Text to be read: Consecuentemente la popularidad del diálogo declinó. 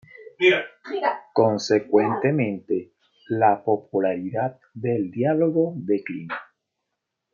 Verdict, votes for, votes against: rejected, 1, 2